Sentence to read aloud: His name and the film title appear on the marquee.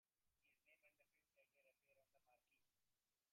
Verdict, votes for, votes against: rejected, 0, 2